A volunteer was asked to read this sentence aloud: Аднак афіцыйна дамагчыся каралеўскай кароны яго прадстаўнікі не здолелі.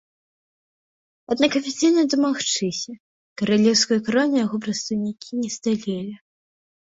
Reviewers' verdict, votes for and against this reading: rejected, 0, 2